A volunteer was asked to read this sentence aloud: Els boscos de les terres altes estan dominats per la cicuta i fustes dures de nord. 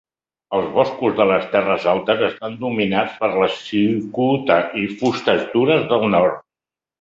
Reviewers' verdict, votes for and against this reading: rejected, 1, 2